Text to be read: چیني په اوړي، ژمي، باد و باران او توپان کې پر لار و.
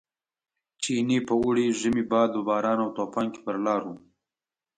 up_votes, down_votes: 2, 0